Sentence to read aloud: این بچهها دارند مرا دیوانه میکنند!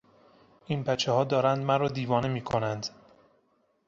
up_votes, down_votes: 2, 0